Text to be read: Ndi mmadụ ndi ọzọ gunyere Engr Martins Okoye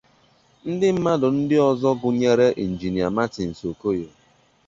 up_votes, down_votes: 2, 0